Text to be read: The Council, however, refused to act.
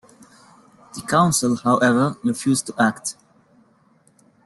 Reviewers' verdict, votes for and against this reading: accepted, 2, 0